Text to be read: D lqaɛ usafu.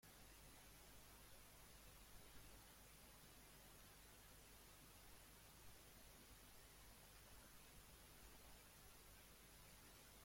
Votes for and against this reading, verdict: 0, 2, rejected